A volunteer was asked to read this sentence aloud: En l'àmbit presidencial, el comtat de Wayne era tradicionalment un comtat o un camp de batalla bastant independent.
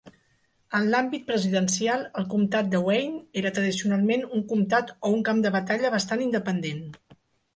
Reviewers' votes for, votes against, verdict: 3, 0, accepted